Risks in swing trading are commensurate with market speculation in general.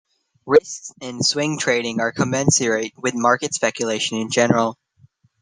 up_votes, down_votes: 0, 2